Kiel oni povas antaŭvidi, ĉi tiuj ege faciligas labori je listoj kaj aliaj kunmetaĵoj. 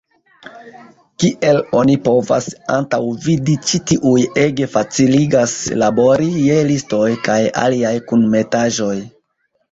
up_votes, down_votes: 2, 0